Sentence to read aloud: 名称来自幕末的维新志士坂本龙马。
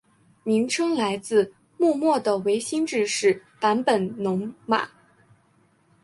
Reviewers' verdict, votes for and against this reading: accepted, 4, 0